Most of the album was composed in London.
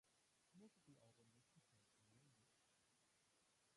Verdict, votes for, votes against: rejected, 0, 2